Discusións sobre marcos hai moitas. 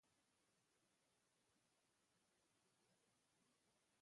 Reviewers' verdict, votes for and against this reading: rejected, 0, 2